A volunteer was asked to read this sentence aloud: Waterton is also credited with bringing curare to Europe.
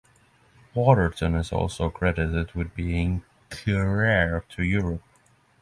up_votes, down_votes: 3, 0